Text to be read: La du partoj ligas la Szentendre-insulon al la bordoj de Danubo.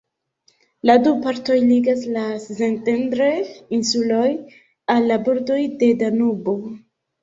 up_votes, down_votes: 2, 0